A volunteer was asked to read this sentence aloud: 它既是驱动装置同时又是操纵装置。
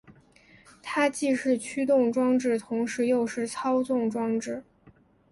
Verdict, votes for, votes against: accepted, 2, 1